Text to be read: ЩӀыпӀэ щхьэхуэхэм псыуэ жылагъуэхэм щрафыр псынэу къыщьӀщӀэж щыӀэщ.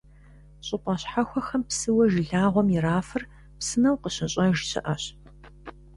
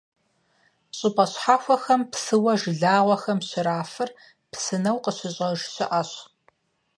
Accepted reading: second